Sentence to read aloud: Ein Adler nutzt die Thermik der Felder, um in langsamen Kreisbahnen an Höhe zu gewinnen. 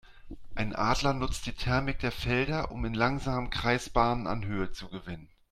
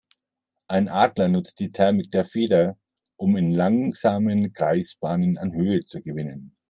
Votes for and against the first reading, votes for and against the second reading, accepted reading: 2, 0, 1, 2, first